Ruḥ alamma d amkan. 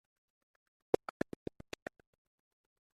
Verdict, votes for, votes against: rejected, 0, 2